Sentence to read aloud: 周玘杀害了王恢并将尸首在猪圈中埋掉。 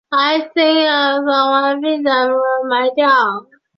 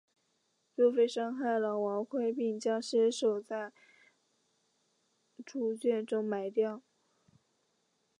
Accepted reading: second